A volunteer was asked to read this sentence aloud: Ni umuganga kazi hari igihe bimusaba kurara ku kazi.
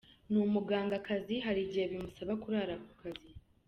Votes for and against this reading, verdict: 2, 0, accepted